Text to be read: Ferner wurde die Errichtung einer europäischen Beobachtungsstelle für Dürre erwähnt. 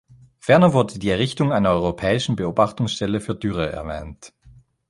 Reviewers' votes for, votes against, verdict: 2, 0, accepted